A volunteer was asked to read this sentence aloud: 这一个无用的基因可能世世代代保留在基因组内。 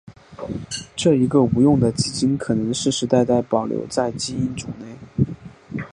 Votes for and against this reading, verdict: 2, 1, accepted